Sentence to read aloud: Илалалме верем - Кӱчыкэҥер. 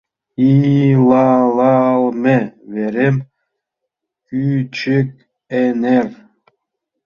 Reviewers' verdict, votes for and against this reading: rejected, 0, 2